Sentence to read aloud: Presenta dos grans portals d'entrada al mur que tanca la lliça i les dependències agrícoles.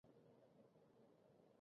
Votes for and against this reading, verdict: 0, 2, rejected